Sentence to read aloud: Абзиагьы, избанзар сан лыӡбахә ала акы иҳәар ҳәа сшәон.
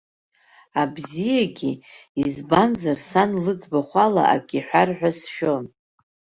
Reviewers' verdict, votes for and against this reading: accepted, 2, 0